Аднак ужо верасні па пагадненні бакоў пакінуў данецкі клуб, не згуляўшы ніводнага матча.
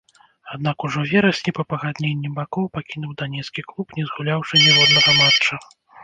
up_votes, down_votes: 0, 2